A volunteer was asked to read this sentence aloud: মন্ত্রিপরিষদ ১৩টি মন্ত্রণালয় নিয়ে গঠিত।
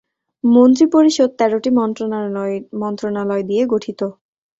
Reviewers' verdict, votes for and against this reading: rejected, 0, 2